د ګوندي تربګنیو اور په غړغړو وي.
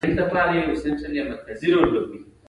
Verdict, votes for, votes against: accepted, 2, 1